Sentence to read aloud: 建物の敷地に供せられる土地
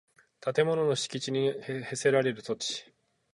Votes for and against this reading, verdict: 6, 0, accepted